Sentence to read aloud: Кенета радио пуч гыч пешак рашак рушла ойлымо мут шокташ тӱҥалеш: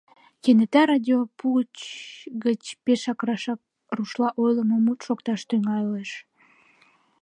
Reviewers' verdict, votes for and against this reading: rejected, 1, 2